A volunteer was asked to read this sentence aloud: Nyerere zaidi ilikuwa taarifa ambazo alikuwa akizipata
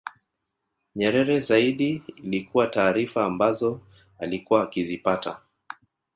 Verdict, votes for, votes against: rejected, 1, 2